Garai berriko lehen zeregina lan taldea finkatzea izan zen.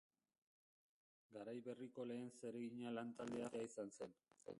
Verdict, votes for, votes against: rejected, 0, 2